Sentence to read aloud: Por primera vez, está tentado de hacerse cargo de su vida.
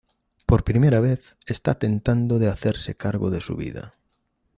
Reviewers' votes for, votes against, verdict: 0, 2, rejected